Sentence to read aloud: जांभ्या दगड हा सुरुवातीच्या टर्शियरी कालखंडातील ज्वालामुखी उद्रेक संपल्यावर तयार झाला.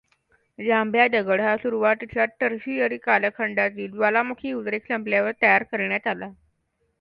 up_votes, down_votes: 2, 1